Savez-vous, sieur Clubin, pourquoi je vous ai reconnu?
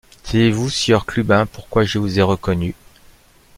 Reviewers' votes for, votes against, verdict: 1, 2, rejected